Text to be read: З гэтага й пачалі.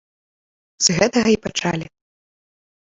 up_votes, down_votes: 2, 1